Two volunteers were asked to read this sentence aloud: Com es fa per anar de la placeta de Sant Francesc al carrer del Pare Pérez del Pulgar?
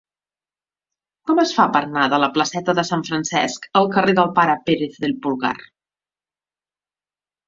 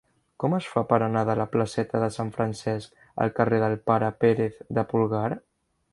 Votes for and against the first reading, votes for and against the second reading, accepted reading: 2, 1, 1, 2, first